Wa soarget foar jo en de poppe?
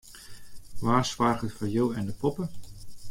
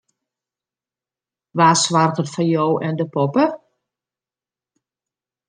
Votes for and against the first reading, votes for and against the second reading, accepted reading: 0, 2, 2, 0, second